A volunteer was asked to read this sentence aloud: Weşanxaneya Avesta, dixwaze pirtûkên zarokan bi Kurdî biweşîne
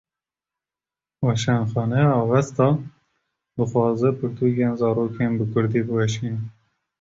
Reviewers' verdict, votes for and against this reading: rejected, 0, 2